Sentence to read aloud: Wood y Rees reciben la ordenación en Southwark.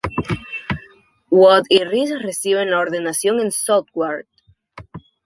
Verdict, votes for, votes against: accepted, 2, 0